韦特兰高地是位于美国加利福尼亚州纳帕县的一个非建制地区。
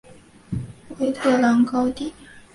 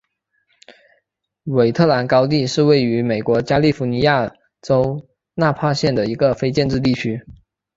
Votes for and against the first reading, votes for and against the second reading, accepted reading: 2, 4, 2, 0, second